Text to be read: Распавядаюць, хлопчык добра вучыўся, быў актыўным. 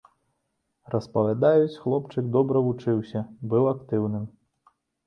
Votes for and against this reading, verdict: 2, 0, accepted